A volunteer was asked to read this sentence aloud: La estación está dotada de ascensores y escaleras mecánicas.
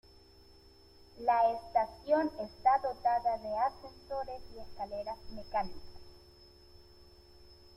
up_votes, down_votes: 2, 0